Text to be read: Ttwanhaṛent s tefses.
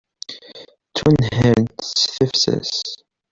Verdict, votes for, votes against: accepted, 2, 0